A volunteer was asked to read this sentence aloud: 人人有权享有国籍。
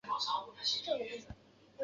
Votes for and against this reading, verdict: 0, 2, rejected